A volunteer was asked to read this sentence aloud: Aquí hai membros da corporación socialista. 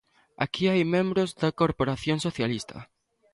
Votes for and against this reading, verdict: 2, 0, accepted